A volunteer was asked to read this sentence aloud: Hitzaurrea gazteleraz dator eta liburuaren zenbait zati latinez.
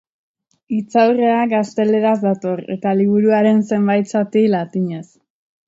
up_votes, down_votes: 2, 0